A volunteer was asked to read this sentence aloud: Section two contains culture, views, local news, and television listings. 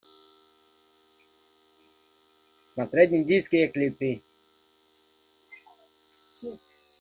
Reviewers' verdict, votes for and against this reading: rejected, 0, 2